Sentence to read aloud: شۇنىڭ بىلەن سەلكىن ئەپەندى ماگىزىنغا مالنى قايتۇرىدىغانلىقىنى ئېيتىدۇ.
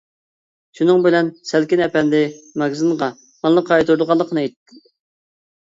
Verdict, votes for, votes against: rejected, 0, 2